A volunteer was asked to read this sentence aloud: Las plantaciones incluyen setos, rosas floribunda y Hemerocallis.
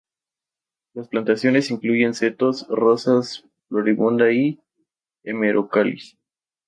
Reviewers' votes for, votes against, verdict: 0, 2, rejected